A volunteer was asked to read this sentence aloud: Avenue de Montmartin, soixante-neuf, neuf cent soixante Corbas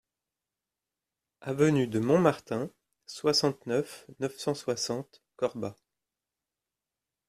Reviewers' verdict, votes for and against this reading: accepted, 2, 1